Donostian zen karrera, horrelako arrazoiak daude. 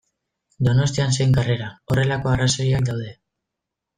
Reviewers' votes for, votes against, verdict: 2, 0, accepted